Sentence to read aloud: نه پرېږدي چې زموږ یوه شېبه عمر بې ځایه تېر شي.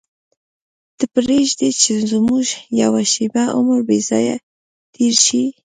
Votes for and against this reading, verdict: 1, 2, rejected